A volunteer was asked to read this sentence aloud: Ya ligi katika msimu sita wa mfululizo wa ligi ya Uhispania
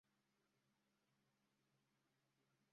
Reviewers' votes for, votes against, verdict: 0, 2, rejected